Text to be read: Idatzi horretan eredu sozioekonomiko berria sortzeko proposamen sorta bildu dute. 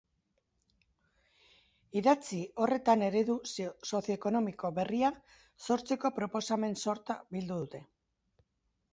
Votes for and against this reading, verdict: 2, 1, accepted